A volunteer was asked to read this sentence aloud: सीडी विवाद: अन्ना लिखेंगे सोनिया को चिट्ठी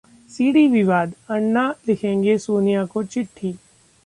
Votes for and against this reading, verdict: 2, 0, accepted